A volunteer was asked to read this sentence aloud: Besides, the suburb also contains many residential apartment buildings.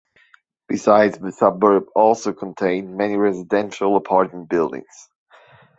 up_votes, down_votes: 0, 2